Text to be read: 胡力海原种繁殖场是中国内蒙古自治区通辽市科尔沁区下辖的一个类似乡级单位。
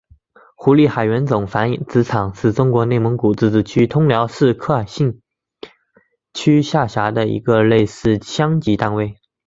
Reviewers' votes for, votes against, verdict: 2, 0, accepted